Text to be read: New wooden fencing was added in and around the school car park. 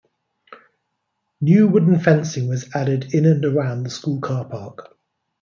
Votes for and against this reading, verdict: 2, 0, accepted